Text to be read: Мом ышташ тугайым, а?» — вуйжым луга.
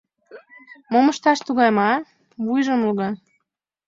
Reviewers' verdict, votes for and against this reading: accepted, 2, 0